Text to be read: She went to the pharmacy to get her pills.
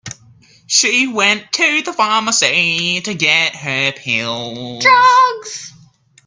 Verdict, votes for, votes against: rejected, 0, 3